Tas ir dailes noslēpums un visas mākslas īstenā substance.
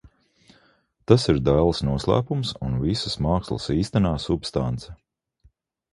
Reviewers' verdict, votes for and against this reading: accepted, 2, 0